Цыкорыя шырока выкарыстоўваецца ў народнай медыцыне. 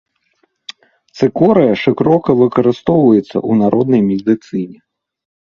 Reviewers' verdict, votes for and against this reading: rejected, 2, 3